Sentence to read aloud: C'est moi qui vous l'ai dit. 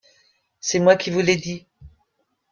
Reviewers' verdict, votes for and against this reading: accepted, 2, 0